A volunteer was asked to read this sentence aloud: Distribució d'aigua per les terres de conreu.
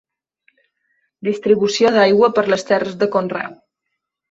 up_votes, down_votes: 2, 0